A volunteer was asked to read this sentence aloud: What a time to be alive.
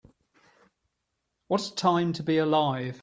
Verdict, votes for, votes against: accepted, 3, 0